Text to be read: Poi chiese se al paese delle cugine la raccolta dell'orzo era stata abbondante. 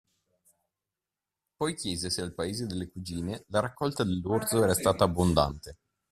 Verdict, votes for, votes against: rejected, 0, 2